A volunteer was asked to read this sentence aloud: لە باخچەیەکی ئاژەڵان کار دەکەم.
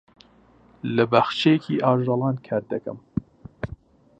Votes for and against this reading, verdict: 2, 0, accepted